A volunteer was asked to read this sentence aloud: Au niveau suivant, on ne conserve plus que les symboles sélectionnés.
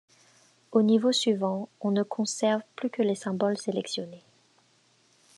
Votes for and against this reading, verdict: 2, 0, accepted